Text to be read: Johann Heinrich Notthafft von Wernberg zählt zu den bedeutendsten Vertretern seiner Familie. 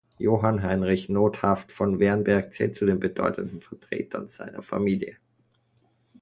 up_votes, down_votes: 2, 0